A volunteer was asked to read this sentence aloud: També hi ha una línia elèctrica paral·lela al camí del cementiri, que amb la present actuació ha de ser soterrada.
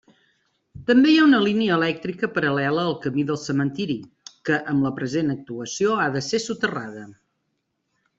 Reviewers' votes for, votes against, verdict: 3, 0, accepted